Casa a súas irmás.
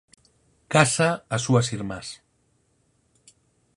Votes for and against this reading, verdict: 4, 0, accepted